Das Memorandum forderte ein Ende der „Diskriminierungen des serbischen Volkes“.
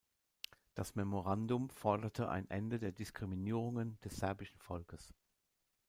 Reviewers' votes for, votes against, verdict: 2, 0, accepted